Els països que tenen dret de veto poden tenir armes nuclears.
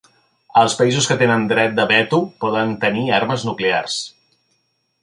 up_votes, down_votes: 2, 0